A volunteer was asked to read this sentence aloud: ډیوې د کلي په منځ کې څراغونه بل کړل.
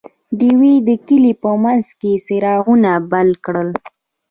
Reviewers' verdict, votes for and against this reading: accepted, 2, 0